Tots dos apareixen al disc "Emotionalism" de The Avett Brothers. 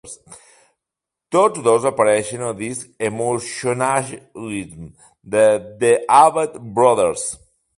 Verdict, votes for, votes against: rejected, 1, 2